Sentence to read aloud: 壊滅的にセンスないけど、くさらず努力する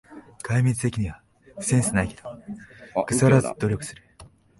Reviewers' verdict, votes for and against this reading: rejected, 0, 2